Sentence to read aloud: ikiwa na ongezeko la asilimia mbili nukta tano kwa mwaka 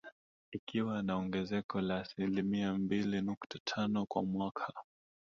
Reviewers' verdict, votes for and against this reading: rejected, 1, 2